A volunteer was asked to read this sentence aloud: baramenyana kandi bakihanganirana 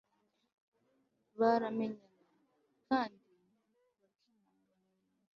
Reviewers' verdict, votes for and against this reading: rejected, 0, 2